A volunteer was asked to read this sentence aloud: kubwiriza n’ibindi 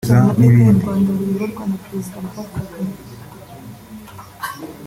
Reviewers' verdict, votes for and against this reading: rejected, 0, 4